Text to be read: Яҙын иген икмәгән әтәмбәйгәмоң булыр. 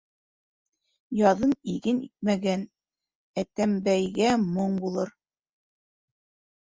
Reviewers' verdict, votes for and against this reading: rejected, 1, 2